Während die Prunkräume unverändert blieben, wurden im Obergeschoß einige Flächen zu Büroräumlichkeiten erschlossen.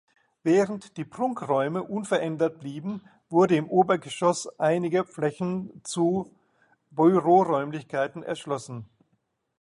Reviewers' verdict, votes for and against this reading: rejected, 1, 2